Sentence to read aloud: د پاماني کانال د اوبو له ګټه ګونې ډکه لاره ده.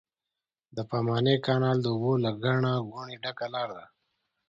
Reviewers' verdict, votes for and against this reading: accepted, 2, 0